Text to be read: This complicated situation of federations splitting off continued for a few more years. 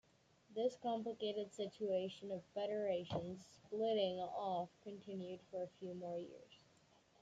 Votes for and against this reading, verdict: 1, 2, rejected